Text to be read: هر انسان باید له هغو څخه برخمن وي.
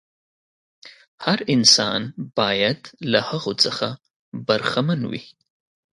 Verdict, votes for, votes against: accepted, 2, 0